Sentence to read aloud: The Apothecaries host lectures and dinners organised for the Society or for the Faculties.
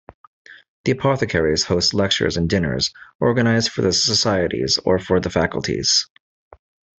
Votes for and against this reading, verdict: 1, 2, rejected